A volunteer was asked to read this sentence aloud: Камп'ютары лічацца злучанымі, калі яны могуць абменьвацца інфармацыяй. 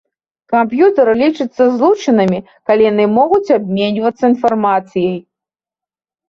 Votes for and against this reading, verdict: 2, 0, accepted